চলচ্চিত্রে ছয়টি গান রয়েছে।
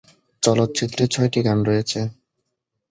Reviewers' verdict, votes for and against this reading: rejected, 1, 2